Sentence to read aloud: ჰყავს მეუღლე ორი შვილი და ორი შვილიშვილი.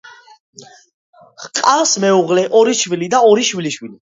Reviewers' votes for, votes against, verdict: 2, 0, accepted